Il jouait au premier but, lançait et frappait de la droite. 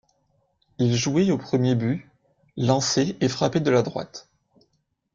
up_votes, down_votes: 2, 0